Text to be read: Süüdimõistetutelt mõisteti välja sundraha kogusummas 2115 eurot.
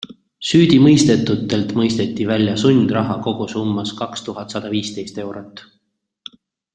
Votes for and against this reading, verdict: 0, 2, rejected